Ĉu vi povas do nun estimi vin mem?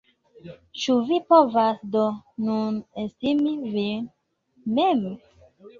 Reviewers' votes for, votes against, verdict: 0, 2, rejected